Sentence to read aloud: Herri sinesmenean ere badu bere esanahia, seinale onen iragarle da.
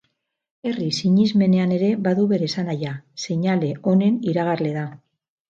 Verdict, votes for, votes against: rejected, 2, 2